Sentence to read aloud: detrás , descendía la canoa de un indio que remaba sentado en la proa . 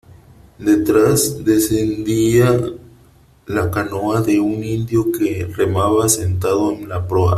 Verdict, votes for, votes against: accepted, 3, 1